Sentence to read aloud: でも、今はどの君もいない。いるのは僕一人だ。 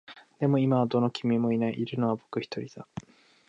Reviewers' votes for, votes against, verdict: 2, 0, accepted